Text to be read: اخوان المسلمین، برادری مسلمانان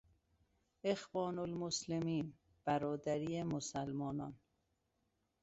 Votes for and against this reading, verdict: 2, 0, accepted